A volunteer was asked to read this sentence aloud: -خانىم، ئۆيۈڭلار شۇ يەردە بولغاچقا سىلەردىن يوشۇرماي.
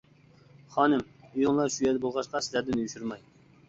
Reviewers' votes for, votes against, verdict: 1, 2, rejected